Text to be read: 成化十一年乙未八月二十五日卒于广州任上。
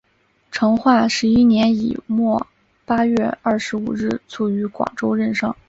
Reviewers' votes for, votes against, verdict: 2, 0, accepted